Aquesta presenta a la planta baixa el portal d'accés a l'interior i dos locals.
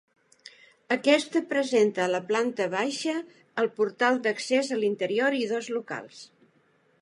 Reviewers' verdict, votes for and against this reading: accepted, 2, 0